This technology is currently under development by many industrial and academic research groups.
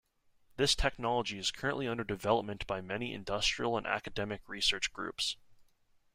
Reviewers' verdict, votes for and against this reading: accepted, 2, 0